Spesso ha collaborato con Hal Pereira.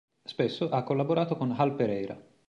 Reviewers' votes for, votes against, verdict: 2, 0, accepted